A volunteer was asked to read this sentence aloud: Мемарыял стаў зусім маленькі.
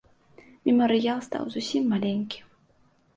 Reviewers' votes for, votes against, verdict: 2, 0, accepted